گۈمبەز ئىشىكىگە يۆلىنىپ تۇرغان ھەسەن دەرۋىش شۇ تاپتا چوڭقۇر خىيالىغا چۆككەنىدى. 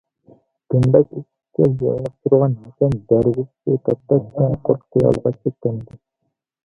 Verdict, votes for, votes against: rejected, 0, 2